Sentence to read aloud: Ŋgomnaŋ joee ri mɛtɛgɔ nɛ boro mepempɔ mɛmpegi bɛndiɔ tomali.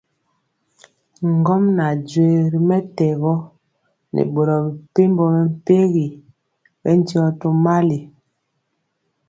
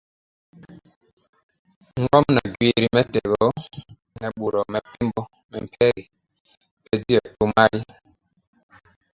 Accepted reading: first